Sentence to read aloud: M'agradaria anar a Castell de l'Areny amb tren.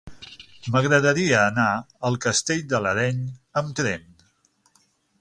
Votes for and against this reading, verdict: 0, 6, rejected